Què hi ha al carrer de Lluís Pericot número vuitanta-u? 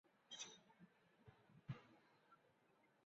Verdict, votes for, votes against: rejected, 0, 5